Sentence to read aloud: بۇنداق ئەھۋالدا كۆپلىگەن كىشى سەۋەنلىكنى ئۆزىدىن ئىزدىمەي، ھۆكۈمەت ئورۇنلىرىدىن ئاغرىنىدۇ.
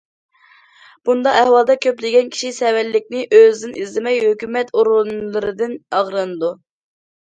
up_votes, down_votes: 2, 0